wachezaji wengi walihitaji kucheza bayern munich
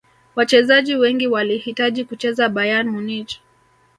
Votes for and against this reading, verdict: 2, 0, accepted